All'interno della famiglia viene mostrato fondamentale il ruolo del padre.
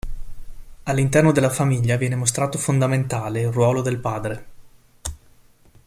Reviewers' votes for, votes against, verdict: 2, 0, accepted